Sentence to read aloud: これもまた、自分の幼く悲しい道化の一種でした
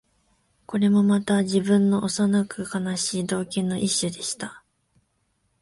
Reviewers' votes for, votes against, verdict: 2, 0, accepted